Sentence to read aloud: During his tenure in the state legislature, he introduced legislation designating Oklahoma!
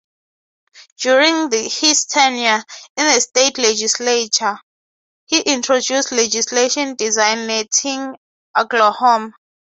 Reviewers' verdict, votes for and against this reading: rejected, 0, 6